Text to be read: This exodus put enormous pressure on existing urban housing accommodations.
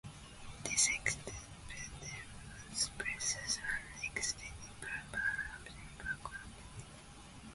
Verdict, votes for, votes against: rejected, 0, 2